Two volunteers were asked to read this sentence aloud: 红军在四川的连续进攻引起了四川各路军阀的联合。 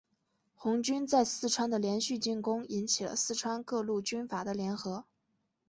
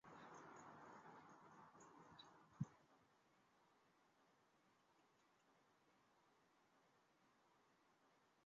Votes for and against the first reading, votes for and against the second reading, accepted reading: 4, 1, 0, 3, first